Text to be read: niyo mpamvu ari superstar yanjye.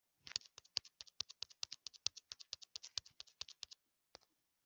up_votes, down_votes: 0, 2